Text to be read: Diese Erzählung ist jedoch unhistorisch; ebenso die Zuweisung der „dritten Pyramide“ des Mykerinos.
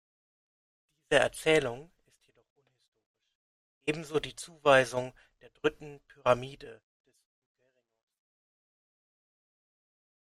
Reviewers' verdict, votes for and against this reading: rejected, 0, 2